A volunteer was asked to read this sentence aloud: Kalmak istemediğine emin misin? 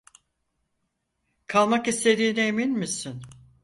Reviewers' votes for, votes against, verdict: 0, 4, rejected